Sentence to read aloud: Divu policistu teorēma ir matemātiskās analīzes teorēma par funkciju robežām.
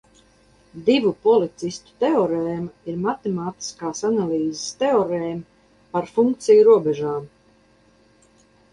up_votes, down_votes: 0, 2